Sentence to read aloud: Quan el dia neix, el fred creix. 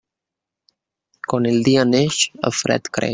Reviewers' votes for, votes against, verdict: 1, 2, rejected